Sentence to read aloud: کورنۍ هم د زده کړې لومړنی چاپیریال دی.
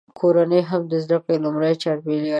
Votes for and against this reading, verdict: 2, 3, rejected